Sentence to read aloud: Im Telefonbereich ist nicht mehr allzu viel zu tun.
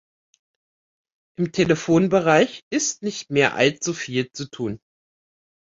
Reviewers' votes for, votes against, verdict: 2, 0, accepted